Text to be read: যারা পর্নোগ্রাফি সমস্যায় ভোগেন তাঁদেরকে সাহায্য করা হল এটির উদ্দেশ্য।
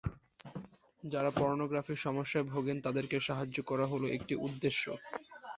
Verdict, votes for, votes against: rejected, 2, 4